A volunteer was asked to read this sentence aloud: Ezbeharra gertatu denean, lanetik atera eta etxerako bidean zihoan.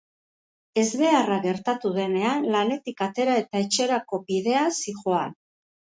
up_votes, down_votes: 2, 2